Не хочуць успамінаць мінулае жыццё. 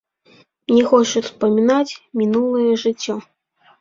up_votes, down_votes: 0, 2